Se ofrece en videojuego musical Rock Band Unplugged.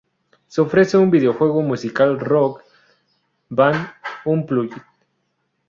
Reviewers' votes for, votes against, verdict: 2, 2, rejected